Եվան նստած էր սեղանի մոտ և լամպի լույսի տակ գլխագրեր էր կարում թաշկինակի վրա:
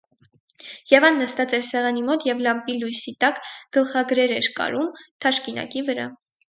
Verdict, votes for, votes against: accepted, 6, 0